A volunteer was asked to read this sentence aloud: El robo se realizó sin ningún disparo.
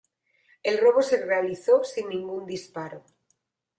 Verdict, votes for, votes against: accepted, 2, 0